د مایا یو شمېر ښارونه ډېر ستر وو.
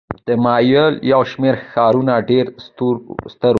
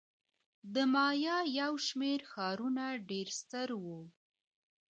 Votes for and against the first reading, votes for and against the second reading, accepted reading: 2, 1, 0, 2, first